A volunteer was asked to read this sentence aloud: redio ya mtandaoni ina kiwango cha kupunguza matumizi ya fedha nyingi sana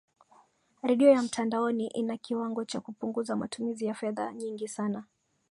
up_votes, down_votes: 0, 2